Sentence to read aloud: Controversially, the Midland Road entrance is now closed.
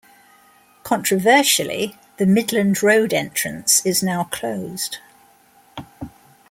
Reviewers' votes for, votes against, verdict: 2, 0, accepted